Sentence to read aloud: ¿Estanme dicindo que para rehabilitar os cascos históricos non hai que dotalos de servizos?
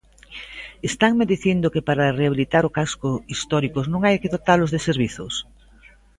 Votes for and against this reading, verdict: 0, 2, rejected